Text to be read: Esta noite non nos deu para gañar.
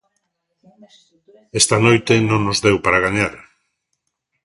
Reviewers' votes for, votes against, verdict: 2, 0, accepted